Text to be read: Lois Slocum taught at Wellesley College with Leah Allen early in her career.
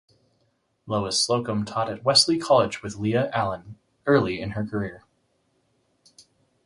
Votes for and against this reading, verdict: 2, 4, rejected